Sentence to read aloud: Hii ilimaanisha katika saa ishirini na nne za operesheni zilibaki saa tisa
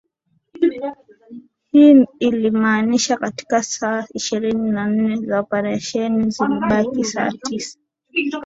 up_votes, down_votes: 20, 4